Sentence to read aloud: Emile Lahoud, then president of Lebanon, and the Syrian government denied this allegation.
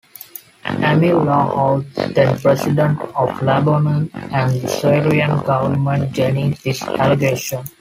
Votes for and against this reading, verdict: 0, 2, rejected